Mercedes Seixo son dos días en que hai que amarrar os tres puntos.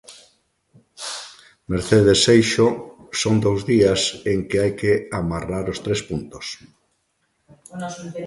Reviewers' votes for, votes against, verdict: 0, 2, rejected